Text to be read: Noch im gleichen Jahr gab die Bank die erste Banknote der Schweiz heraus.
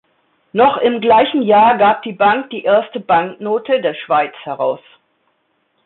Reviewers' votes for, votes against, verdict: 2, 0, accepted